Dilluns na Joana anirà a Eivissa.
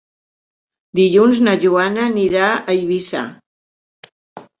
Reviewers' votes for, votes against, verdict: 4, 0, accepted